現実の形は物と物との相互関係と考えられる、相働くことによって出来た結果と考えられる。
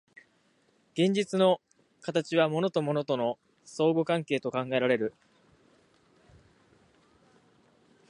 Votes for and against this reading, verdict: 1, 2, rejected